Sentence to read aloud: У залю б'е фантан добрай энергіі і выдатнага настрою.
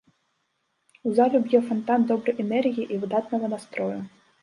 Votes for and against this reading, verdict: 2, 0, accepted